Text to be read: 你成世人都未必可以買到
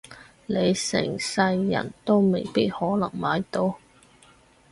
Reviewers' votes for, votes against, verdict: 2, 4, rejected